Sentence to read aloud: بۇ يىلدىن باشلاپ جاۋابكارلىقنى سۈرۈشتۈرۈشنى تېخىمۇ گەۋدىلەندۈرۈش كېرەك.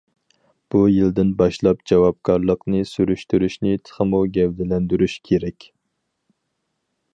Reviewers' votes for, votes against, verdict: 4, 0, accepted